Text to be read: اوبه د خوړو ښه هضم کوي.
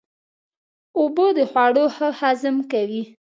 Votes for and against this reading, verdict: 3, 0, accepted